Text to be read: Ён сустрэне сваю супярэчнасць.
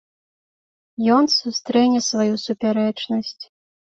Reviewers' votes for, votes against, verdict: 3, 0, accepted